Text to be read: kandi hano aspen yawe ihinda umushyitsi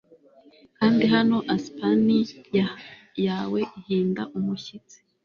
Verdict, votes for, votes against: rejected, 1, 2